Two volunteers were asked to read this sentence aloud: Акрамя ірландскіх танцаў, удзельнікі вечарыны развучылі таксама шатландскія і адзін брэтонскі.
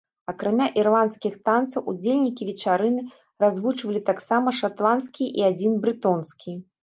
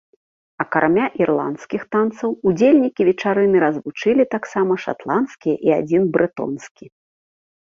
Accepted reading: second